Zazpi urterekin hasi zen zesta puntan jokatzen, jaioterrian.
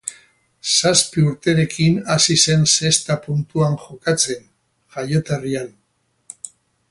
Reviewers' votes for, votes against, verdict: 0, 2, rejected